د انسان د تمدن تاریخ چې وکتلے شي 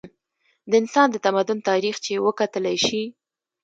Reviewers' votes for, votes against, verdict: 2, 0, accepted